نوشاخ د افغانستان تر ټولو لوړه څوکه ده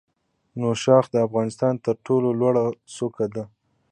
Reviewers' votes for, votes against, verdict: 2, 0, accepted